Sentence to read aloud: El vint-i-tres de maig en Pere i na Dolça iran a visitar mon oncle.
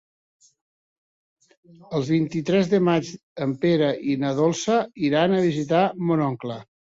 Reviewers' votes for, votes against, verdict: 3, 0, accepted